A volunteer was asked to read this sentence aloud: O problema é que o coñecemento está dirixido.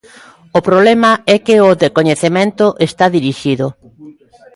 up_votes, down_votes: 0, 2